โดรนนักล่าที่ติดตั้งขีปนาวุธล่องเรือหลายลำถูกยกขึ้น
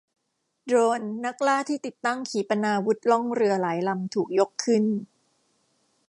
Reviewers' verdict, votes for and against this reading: rejected, 1, 2